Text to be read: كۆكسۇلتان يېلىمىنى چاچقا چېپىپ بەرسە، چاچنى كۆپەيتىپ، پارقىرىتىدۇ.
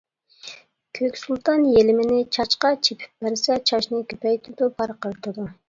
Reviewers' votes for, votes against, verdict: 1, 2, rejected